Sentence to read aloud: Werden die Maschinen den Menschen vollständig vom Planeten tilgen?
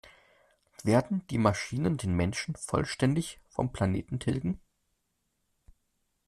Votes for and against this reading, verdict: 2, 0, accepted